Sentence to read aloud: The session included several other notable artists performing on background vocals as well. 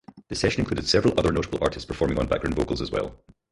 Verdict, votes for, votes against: rejected, 2, 4